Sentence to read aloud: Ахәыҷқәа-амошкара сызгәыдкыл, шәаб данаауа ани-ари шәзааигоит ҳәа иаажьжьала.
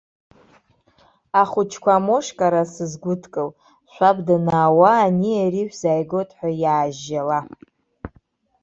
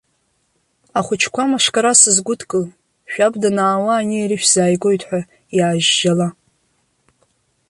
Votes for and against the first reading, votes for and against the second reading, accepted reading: 1, 2, 2, 0, second